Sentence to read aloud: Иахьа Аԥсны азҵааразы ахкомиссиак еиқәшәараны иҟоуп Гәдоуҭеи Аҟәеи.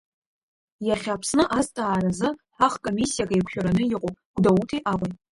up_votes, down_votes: 1, 2